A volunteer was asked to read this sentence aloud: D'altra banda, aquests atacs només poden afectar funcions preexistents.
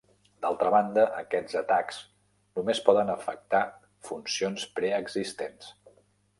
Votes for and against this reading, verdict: 3, 0, accepted